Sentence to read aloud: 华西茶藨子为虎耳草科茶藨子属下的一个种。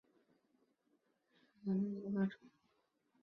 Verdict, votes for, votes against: rejected, 0, 3